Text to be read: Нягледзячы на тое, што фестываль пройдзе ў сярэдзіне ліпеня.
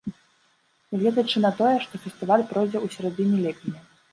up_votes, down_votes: 1, 2